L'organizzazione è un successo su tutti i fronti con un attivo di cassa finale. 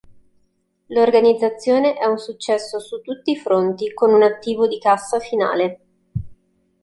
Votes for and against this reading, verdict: 2, 0, accepted